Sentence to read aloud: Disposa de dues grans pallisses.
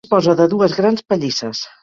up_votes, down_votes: 0, 4